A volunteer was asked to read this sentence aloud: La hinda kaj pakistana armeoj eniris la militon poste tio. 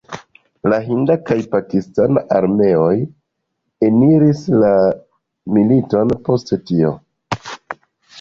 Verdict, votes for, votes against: rejected, 0, 2